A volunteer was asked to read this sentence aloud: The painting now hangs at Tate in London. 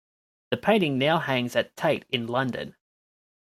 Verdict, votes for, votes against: accepted, 2, 0